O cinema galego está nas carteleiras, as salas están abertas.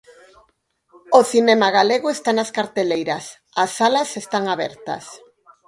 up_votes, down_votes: 0, 4